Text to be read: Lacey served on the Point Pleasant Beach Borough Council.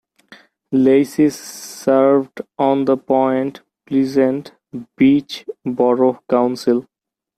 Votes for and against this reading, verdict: 2, 0, accepted